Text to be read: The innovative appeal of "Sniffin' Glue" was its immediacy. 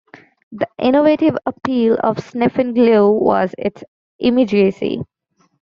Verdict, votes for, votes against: accepted, 2, 0